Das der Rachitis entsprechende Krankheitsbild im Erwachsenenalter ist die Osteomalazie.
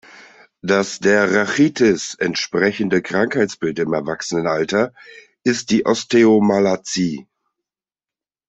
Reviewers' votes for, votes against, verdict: 2, 0, accepted